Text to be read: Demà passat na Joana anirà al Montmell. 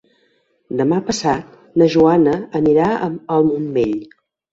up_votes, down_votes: 1, 2